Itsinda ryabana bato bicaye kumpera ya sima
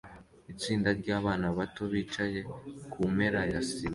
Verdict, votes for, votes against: accepted, 2, 0